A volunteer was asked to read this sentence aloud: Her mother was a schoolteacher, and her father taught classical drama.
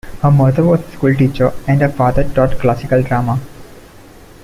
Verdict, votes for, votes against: accepted, 2, 1